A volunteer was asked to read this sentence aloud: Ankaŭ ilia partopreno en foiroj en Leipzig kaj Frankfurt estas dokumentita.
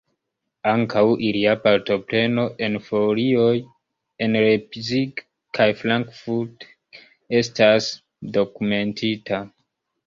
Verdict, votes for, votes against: rejected, 0, 2